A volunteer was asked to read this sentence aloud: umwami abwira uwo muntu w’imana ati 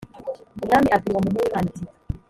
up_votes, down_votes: 1, 2